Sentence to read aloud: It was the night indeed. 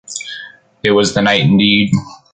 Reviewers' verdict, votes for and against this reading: accepted, 2, 0